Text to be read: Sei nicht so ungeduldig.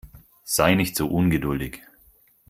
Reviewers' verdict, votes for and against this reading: accepted, 4, 0